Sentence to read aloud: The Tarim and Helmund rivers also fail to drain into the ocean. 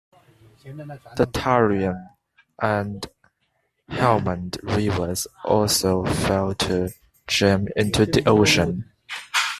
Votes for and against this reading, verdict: 1, 2, rejected